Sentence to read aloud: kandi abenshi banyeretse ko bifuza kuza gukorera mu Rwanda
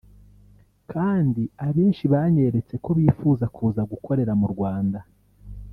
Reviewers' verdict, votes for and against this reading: rejected, 1, 2